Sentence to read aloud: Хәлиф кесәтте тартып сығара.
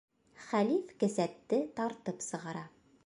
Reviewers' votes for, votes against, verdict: 1, 2, rejected